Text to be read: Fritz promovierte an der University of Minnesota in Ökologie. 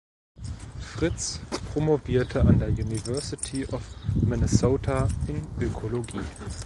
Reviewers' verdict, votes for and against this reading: accepted, 2, 0